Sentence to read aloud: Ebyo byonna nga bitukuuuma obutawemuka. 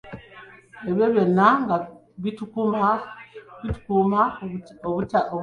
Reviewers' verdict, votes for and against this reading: rejected, 1, 3